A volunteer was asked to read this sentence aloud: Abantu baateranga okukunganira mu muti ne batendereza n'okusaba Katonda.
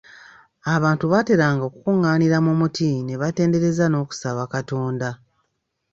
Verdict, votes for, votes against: accepted, 2, 0